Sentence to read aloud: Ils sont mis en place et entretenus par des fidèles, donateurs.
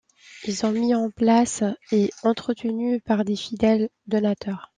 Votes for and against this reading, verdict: 0, 2, rejected